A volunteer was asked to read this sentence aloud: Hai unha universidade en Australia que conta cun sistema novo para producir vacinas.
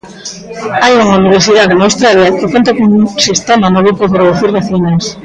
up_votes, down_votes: 0, 2